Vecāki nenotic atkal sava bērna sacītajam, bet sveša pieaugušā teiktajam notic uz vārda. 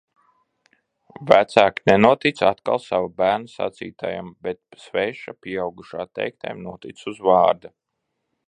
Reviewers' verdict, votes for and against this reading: accepted, 2, 0